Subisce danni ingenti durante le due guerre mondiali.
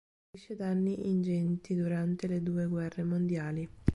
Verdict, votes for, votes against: rejected, 1, 2